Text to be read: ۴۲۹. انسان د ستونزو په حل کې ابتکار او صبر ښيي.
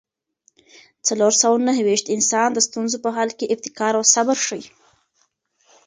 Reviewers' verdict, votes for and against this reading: rejected, 0, 2